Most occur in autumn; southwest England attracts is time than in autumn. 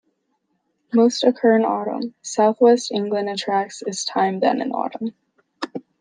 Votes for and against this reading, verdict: 2, 1, accepted